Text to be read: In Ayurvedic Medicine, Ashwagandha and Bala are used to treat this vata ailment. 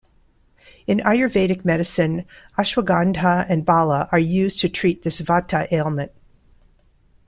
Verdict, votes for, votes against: accepted, 2, 0